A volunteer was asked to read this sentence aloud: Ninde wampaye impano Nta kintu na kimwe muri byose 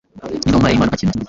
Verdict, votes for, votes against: rejected, 1, 2